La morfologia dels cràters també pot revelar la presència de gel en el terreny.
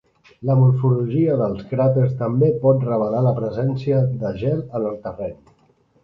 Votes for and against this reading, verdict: 2, 0, accepted